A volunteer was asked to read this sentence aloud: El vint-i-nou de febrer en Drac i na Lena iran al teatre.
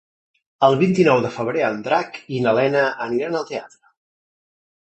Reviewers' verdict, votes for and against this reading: rejected, 0, 2